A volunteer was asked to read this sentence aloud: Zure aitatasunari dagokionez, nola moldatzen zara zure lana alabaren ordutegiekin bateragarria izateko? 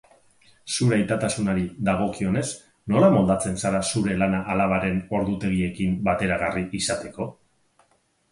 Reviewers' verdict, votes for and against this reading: rejected, 2, 4